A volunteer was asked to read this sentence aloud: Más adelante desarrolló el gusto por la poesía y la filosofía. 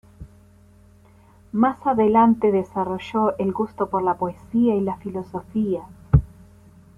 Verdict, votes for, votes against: accepted, 2, 0